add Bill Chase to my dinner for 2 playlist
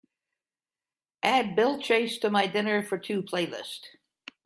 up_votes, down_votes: 0, 2